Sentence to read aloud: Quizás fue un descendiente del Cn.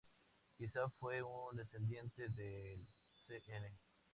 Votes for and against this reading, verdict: 2, 0, accepted